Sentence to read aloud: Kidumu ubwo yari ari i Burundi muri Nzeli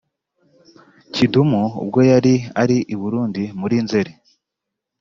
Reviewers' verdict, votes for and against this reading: accepted, 4, 0